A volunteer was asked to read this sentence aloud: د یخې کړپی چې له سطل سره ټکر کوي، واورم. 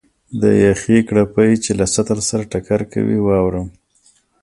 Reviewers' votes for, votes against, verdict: 3, 0, accepted